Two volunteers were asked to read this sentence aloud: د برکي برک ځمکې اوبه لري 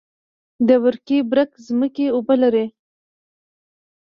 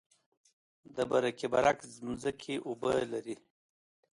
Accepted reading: second